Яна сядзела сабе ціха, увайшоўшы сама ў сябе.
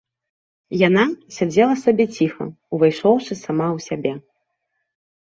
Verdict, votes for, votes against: accepted, 2, 0